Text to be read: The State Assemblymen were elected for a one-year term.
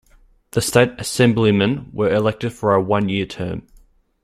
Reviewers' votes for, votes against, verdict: 2, 0, accepted